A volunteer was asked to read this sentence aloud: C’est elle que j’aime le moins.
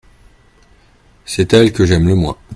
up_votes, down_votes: 2, 0